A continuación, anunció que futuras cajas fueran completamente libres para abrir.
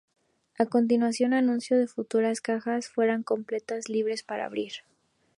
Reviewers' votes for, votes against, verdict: 0, 2, rejected